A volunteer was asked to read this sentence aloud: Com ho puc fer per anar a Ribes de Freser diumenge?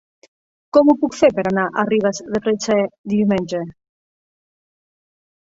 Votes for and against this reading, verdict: 1, 2, rejected